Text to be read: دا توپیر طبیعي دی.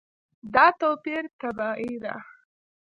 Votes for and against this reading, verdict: 2, 0, accepted